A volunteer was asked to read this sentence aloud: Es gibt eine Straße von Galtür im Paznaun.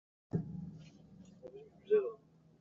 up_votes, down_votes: 0, 2